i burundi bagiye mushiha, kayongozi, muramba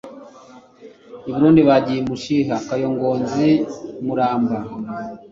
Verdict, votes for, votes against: accepted, 2, 0